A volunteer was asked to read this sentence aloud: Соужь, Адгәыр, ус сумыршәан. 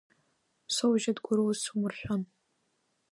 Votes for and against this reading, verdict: 1, 2, rejected